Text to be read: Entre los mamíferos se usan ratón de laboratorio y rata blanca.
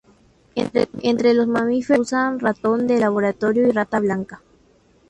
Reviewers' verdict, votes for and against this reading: accepted, 2, 0